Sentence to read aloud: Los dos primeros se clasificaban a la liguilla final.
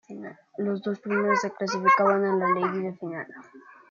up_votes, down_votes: 1, 2